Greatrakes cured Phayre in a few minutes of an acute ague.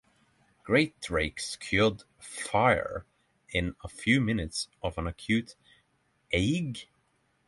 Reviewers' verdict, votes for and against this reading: rejected, 3, 3